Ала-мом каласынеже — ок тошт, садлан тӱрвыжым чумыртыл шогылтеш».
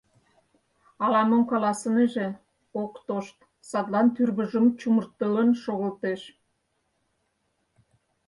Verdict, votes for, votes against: rejected, 0, 4